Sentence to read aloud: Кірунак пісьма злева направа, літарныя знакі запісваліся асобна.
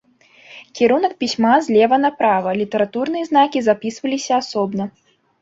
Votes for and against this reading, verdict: 0, 2, rejected